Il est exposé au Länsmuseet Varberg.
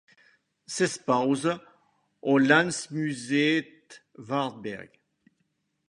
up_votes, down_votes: 1, 2